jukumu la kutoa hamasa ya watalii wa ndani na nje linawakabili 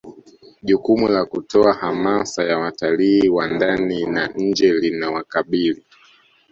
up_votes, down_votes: 2, 1